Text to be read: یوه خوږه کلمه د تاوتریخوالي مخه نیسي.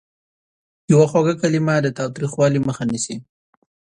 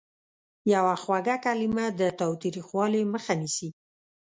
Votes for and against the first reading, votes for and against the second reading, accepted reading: 2, 0, 1, 2, first